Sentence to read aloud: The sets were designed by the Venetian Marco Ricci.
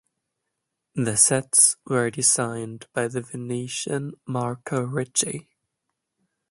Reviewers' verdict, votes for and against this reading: rejected, 1, 2